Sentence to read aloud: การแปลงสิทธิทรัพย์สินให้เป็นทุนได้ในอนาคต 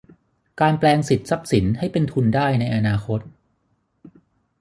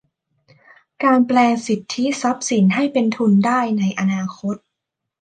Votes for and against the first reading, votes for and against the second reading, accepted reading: 0, 6, 2, 0, second